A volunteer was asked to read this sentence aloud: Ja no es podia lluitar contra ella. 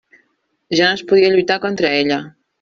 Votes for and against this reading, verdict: 0, 2, rejected